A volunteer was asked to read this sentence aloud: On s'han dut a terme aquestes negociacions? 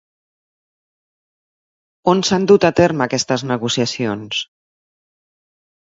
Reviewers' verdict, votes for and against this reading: accepted, 2, 0